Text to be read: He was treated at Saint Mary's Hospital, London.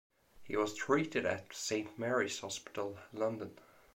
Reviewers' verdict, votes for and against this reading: accepted, 2, 0